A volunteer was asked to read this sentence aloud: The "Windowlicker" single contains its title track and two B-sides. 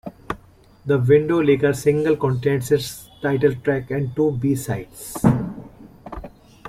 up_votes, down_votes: 1, 2